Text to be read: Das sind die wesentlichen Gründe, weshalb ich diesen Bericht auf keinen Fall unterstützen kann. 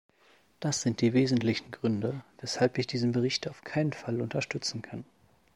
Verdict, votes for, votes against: accepted, 2, 0